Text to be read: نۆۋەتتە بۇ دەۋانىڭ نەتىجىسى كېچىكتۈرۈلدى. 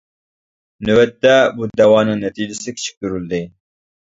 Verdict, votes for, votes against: rejected, 1, 2